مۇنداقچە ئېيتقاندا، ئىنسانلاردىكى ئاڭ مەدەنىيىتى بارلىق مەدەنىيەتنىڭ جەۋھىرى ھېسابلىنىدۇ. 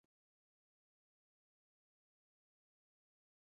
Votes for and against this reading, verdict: 0, 2, rejected